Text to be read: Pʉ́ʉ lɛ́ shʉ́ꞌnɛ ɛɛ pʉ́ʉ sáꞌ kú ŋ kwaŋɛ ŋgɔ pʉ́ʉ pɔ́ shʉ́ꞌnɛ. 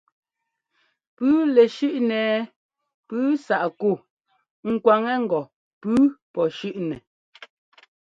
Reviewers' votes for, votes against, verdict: 2, 0, accepted